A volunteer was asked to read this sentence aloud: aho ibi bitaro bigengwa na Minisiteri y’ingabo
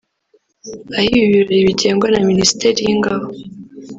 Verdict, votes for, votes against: rejected, 1, 2